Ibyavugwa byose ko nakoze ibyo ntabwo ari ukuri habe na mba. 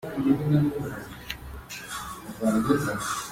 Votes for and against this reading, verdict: 0, 2, rejected